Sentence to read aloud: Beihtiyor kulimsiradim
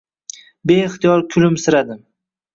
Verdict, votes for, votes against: accepted, 2, 0